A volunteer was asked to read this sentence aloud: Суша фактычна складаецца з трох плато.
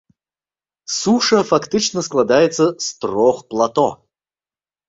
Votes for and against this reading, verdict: 2, 0, accepted